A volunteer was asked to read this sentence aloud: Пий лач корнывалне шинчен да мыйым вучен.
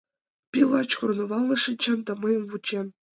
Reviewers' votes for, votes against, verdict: 2, 0, accepted